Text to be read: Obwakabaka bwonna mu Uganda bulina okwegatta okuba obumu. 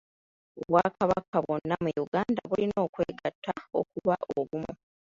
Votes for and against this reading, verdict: 1, 2, rejected